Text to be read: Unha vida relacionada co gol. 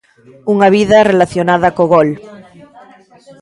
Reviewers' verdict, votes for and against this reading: accepted, 2, 1